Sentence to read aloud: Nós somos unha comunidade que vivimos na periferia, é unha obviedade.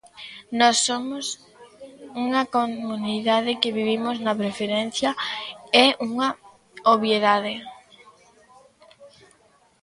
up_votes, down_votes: 0, 2